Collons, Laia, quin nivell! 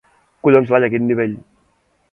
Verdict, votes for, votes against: accepted, 2, 0